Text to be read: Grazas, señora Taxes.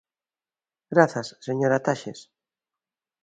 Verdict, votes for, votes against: accepted, 2, 0